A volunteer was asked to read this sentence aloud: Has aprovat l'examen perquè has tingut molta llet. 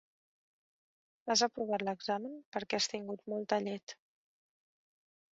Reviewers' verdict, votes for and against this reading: accepted, 3, 0